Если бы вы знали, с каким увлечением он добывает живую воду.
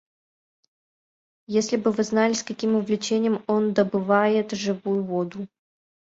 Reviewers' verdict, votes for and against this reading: rejected, 0, 2